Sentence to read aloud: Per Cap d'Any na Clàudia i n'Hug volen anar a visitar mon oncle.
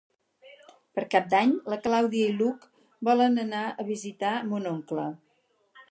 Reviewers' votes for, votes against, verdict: 0, 4, rejected